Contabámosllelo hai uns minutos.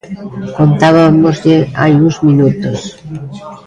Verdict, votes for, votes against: rejected, 0, 2